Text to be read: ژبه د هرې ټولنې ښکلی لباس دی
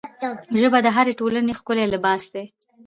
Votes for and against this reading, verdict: 0, 2, rejected